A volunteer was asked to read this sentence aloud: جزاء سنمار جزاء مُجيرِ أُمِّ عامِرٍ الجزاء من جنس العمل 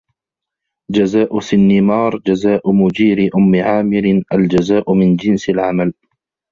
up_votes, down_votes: 1, 3